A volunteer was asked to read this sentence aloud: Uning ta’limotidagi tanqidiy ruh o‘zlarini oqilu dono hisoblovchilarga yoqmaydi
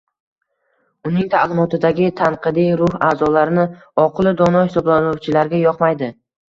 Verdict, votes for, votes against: accepted, 2, 1